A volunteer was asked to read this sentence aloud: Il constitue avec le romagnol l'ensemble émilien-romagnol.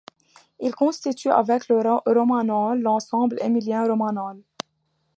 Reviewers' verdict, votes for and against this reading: rejected, 0, 2